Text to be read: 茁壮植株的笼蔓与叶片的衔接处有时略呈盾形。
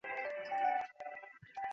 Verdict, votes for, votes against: rejected, 2, 6